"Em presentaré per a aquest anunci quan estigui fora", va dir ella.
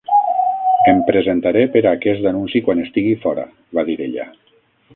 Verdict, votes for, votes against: rejected, 3, 6